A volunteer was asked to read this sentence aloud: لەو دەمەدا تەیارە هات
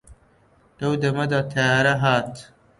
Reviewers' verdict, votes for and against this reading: accepted, 2, 0